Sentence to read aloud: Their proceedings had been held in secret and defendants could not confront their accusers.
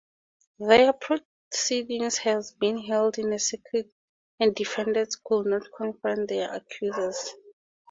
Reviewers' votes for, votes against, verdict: 0, 2, rejected